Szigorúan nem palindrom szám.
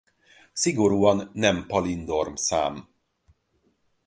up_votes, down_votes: 0, 4